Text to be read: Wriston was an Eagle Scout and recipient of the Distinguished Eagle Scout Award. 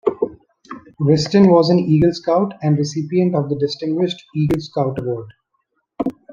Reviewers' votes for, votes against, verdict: 2, 1, accepted